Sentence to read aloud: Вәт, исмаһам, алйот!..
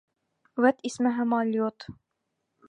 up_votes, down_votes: 1, 2